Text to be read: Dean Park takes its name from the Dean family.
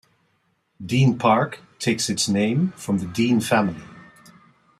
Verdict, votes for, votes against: accepted, 2, 0